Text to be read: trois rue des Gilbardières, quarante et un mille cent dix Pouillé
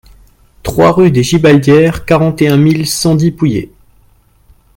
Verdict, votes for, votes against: accepted, 2, 0